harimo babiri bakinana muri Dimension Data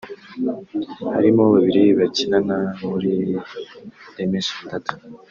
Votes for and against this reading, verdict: 2, 0, accepted